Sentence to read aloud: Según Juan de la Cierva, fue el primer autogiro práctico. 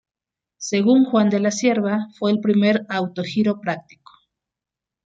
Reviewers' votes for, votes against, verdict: 2, 0, accepted